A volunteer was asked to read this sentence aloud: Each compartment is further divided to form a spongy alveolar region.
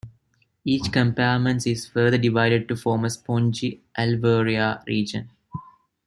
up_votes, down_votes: 2, 0